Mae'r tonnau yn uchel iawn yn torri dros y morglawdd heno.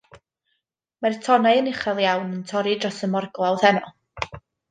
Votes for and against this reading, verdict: 2, 0, accepted